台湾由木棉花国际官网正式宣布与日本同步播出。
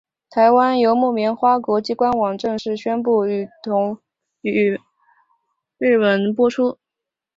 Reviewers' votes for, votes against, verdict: 0, 3, rejected